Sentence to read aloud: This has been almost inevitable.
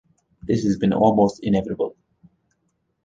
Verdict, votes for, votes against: accepted, 2, 0